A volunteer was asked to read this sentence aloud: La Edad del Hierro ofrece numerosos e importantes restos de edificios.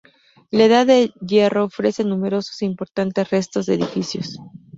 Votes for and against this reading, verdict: 4, 2, accepted